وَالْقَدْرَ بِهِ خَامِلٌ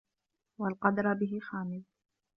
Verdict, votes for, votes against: accepted, 2, 0